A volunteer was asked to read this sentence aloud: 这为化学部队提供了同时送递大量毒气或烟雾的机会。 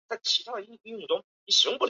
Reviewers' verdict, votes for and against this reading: rejected, 0, 2